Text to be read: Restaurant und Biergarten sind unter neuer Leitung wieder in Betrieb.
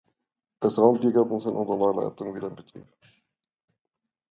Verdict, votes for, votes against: rejected, 0, 2